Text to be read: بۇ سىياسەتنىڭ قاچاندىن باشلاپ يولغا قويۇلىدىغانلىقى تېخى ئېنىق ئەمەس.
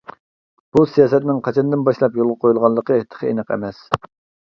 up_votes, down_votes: 1, 2